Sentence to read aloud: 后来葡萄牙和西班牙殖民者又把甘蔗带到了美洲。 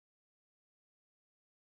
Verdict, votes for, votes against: rejected, 0, 2